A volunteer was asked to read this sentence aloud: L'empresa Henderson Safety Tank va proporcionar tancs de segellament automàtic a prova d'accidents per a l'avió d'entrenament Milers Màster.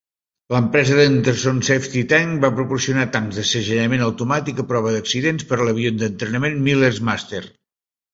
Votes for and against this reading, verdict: 1, 2, rejected